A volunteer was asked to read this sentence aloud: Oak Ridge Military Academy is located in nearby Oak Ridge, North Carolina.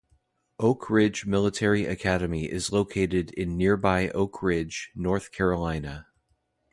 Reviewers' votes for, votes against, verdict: 2, 0, accepted